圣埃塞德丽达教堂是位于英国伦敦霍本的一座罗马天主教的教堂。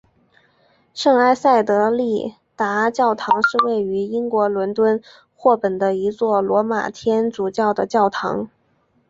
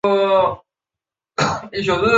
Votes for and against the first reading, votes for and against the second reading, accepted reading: 2, 0, 0, 3, first